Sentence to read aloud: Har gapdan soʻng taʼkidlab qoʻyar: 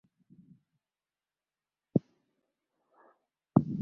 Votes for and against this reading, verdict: 0, 2, rejected